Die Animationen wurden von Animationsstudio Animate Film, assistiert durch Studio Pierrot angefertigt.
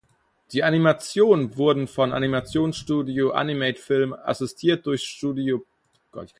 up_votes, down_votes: 0, 4